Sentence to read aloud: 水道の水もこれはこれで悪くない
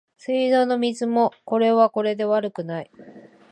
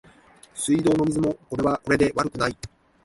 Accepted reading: first